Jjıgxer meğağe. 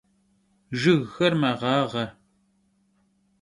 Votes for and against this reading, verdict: 2, 0, accepted